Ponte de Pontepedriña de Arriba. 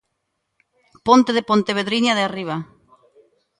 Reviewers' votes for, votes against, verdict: 2, 1, accepted